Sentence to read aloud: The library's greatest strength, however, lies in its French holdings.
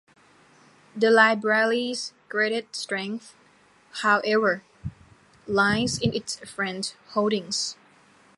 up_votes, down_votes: 2, 1